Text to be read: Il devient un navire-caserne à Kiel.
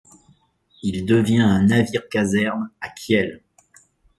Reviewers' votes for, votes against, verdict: 1, 2, rejected